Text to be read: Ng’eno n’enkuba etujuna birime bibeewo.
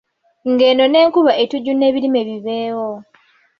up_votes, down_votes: 2, 0